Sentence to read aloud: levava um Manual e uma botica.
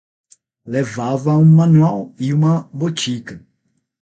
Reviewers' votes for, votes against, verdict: 3, 6, rejected